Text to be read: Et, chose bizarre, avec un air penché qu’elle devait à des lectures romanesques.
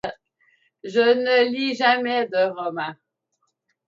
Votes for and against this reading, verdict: 0, 2, rejected